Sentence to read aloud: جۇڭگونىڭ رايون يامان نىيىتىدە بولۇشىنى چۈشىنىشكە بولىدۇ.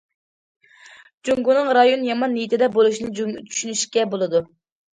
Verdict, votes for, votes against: rejected, 1, 2